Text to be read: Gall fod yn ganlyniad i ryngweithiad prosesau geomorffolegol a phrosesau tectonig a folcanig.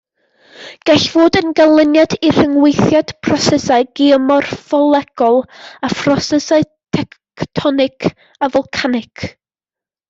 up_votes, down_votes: 2, 1